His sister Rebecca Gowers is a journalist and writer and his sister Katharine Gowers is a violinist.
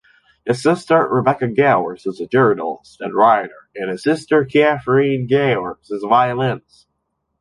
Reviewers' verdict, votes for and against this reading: rejected, 1, 2